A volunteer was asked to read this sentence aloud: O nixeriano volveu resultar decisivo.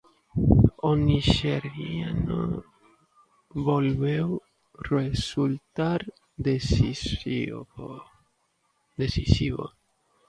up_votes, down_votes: 0, 2